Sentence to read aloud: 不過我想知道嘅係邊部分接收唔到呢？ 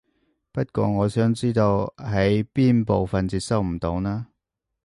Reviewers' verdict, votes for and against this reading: rejected, 0, 3